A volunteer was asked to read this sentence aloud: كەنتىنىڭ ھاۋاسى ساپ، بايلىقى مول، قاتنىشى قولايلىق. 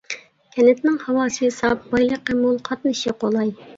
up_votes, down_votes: 0, 2